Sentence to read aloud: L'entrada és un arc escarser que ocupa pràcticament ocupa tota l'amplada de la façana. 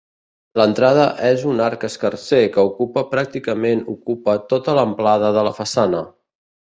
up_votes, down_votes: 4, 0